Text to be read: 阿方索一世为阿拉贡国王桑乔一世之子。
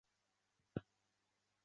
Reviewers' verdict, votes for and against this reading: rejected, 0, 2